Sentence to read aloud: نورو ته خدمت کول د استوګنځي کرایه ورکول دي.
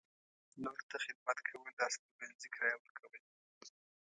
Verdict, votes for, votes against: rejected, 0, 2